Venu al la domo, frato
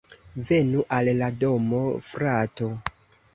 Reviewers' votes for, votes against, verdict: 2, 1, accepted